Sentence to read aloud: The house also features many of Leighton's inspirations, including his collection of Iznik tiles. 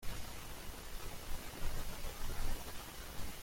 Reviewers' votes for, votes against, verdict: 0, 2, rejected